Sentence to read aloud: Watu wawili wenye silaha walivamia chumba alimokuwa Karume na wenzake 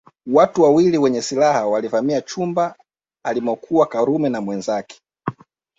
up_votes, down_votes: 3, 0